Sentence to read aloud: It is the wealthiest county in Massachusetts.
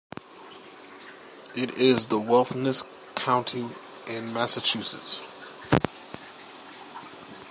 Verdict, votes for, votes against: rejected, 0, 2